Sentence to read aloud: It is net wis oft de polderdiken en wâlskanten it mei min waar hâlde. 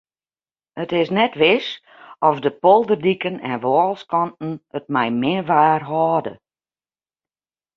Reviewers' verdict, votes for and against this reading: accepted, 2, 0